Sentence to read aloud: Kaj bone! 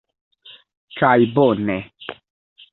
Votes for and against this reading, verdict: 2, 1, accepted